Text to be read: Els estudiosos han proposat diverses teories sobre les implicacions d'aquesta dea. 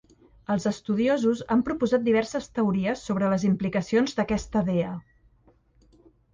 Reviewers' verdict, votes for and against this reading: accepted, 2, 0